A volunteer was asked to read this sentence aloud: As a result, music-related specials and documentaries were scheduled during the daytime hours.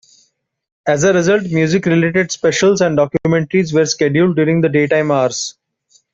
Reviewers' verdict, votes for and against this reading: accepted, 2, 0